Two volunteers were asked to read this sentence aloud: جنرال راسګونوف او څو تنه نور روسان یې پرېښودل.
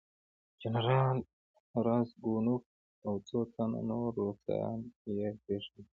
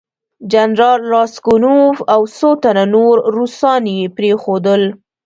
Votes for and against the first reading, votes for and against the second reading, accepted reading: 0, 2, 2, 0, second